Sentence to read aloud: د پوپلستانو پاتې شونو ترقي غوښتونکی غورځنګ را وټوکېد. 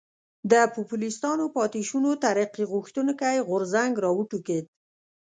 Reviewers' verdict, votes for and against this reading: accepted, 2, 0